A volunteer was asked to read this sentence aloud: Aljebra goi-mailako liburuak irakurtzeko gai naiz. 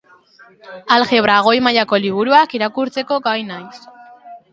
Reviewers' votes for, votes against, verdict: 2, 0, accepted